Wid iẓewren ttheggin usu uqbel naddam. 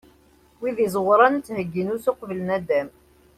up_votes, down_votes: 2, 0